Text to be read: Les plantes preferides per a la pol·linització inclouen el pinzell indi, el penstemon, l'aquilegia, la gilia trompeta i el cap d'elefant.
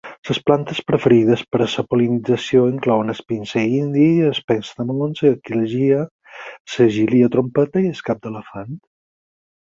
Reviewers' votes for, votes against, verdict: 2, 4, rejected